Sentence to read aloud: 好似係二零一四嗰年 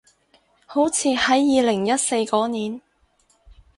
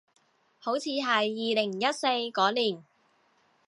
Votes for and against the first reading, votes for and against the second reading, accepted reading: 2, 2, 2, 0, second